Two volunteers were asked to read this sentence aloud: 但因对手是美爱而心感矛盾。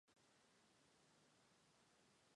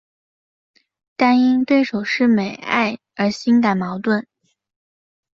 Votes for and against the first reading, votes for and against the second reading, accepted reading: 1, 2, 3, 0, second